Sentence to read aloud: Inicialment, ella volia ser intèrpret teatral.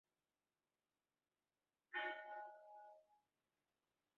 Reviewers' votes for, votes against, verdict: 0, 3, rejected